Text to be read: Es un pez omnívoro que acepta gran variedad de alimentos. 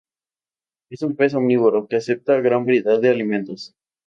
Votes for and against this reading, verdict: 2, 0, accepted